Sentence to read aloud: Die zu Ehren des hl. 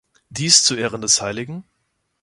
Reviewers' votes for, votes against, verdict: 1, 2, rejected